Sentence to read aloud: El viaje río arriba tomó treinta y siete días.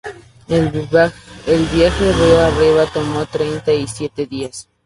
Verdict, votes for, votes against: rejected, 0, 2